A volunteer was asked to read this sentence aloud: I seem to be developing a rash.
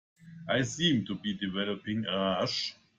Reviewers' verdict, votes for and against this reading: accepted, 2, 0